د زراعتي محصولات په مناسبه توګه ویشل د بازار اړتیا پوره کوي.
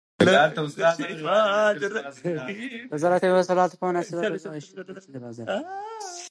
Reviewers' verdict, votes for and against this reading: accepted, 3, 1